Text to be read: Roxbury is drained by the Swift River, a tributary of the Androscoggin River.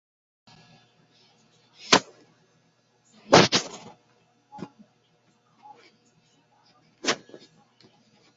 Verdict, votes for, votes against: rejected, 0, 2